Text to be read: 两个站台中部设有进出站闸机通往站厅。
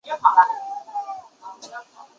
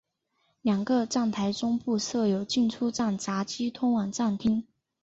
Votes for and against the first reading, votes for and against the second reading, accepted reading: 1, 2, 4, 0, second